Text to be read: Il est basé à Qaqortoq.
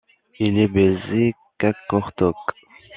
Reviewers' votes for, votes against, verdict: 0, 2, rejected